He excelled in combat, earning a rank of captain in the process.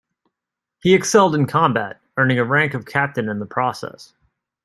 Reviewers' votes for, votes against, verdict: 2, 0, accepted